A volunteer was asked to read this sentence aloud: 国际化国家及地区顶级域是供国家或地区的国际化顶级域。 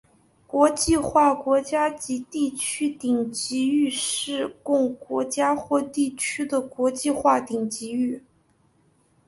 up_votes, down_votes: 2, 1